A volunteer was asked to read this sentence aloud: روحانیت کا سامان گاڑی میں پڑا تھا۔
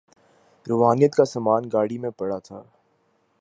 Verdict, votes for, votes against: accepted, 3, 0